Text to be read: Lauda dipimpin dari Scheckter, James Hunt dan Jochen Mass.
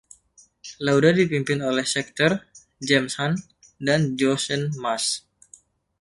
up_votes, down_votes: 0, 2